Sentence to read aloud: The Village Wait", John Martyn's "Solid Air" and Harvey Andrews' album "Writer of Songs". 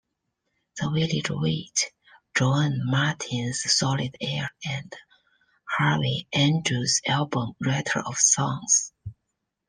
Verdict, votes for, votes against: accepted, 3, 2